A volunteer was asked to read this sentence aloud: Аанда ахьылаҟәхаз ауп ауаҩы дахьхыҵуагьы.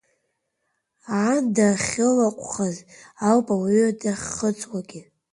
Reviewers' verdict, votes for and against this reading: accepted, 2, 1